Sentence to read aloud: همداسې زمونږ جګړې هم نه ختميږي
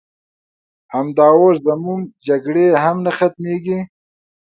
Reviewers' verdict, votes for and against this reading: rejected, 1, 2